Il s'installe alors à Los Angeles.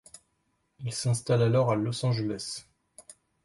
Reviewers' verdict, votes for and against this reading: accepted, 2, 0